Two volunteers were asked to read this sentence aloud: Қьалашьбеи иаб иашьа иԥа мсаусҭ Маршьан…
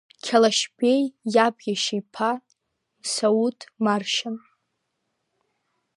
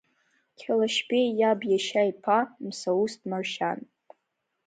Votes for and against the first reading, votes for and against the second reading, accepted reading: 0, 2, 2, 0, second